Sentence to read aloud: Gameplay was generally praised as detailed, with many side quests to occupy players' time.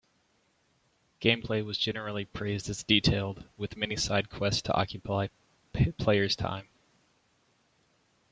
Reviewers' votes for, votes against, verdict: 1, 2, rejected